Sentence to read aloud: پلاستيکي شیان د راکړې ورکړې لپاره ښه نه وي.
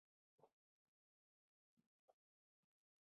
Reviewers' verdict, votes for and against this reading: rejected, 1, 2